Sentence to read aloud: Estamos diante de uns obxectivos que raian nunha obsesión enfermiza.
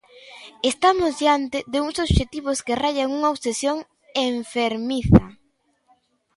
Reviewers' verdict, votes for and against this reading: accepted, 2, 1